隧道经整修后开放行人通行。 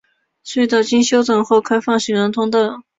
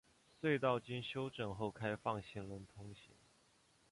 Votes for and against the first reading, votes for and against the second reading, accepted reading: 0, 2, 5, 1, second